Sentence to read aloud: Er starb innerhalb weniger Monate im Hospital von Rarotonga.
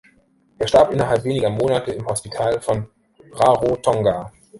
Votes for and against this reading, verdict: 2, 0, accepted